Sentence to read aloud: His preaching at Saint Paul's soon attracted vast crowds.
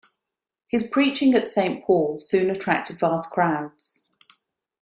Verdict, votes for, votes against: accepted, 2, 0